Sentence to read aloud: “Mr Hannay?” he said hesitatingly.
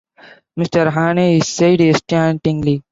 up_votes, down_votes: 1, 2